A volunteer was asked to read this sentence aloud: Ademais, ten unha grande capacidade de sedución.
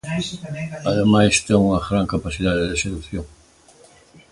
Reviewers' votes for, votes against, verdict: 1, 2, rejected